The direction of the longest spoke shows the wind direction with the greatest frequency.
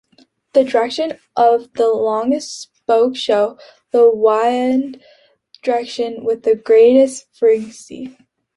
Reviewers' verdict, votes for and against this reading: rejected, 1, 2